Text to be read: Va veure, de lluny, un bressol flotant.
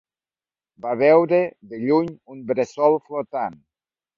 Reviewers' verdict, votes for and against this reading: accepted, 2, 0